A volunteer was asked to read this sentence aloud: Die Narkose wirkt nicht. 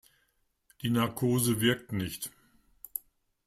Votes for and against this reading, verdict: 2, 0, accepted